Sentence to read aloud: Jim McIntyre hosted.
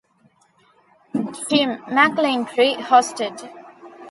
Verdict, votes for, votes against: rejected, 0, 2